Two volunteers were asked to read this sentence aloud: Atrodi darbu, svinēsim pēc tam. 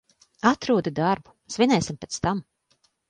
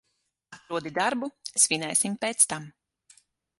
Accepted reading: first